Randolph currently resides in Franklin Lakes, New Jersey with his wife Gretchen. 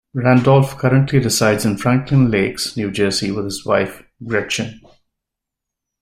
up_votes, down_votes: 2, 0